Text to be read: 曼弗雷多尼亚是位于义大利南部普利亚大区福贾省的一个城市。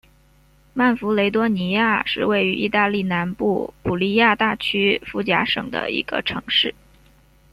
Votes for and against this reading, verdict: 2, 0, accepted